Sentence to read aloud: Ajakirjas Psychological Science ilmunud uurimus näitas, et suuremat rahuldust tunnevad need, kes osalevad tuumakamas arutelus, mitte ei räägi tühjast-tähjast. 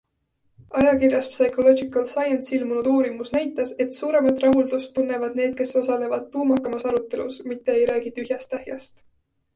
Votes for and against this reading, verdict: 2, 0, accepted